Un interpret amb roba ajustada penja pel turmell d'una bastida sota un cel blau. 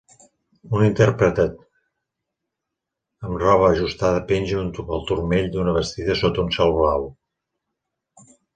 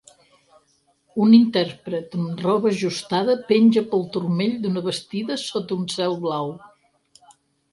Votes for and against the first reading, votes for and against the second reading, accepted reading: 1, 2, 4, 0, second